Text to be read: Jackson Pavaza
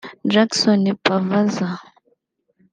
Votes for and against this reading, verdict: 1, 2, rejected